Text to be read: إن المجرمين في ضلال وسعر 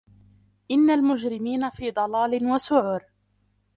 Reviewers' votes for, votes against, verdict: 0, 2, rejected